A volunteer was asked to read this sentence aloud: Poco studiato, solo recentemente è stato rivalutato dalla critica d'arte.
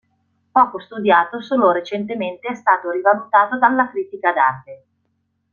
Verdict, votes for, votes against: rejected, 1, 2